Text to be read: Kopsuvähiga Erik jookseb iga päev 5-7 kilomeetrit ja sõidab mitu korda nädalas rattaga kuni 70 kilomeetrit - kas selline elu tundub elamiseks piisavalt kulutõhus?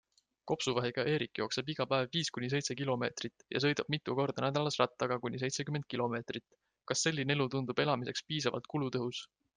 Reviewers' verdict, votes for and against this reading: rejected, 0, 2